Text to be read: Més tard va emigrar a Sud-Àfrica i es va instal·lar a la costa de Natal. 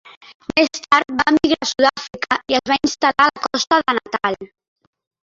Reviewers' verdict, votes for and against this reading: rejected, 1, 2